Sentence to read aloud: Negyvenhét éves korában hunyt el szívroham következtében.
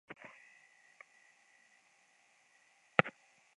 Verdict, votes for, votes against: rejected, 0, 2